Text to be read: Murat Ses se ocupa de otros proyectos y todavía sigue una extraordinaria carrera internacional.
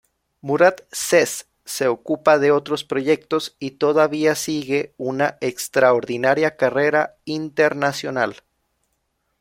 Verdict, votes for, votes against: accepted, 2, 0